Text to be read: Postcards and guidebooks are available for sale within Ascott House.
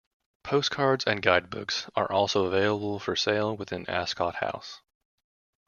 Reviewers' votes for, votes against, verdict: 1, 2, rejected